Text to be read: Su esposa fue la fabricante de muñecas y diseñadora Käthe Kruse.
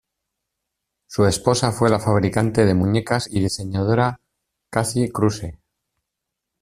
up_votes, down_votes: 1, 2